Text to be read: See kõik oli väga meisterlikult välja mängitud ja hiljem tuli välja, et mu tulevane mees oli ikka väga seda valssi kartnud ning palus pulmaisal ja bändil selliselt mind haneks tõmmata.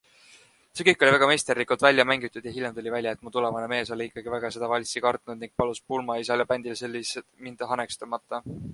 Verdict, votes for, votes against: rejected, 2, 3